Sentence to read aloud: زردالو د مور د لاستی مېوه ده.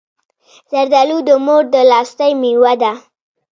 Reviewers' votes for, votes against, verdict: 2, 1, accepted